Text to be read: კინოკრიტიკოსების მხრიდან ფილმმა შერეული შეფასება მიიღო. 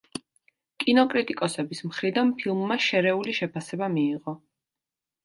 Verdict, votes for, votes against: accepted, 2, 0